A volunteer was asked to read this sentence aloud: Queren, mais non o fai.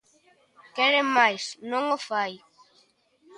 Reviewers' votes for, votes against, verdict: 3, 0, accepted